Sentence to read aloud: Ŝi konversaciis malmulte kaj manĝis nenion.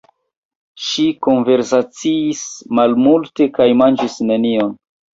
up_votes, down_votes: 2, 1